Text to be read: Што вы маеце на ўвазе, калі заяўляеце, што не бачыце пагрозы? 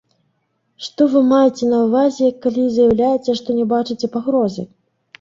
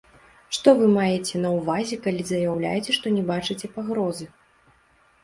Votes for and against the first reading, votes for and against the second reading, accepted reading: 1, 2, 2, 0, second